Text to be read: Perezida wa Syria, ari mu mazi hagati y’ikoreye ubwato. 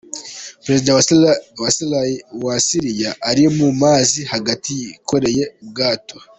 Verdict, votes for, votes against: rejected, 0, 2